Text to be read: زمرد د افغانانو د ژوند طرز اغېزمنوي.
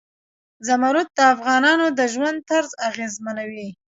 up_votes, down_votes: 2, 0